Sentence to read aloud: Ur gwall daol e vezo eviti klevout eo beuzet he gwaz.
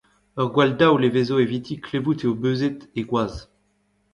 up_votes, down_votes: 1, 2